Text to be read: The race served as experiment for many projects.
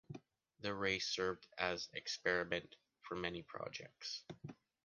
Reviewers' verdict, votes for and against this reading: accepted, 2, 0